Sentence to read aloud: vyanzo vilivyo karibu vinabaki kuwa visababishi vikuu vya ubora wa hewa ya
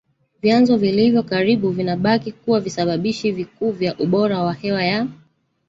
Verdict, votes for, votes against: rejected, 0, 2